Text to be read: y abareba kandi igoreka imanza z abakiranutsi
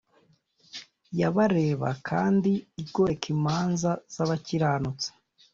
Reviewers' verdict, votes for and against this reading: accepted, 2, 0